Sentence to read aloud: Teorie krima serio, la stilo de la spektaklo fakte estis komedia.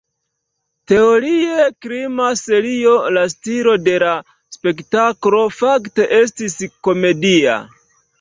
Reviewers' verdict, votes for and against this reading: rejected, 1, 2